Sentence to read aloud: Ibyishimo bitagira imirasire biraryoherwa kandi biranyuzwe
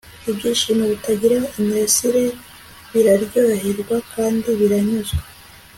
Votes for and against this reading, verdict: 2, 1, accepted